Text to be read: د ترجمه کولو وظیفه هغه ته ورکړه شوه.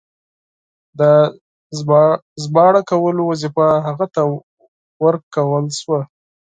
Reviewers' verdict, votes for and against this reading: rejected, 0, 4